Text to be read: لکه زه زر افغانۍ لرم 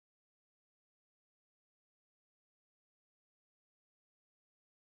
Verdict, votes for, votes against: rejected, 0, 2